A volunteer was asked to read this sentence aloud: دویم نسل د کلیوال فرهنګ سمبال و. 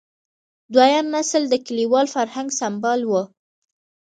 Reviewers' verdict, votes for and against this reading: accepted, 2, 0